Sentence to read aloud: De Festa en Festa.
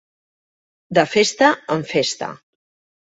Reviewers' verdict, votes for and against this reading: accepted, 2, 0